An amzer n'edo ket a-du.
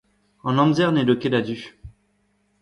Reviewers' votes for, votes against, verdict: 2, 0, accepted